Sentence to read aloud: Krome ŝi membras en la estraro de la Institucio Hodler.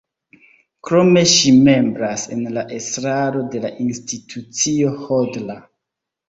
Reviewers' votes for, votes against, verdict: 2, 0, accepted